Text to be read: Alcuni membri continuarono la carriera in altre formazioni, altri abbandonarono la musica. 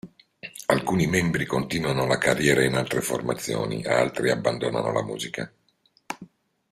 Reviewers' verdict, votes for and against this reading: rejected, 1, 2